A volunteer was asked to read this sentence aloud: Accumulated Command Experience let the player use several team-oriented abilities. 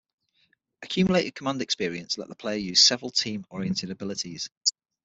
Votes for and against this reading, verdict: 6, 0, accepted